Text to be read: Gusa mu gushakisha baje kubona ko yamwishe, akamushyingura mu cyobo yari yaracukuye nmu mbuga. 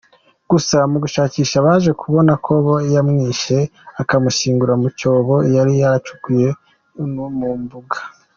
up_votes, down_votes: 2, 1